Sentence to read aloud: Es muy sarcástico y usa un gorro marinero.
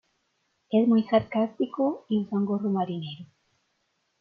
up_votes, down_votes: 2, 0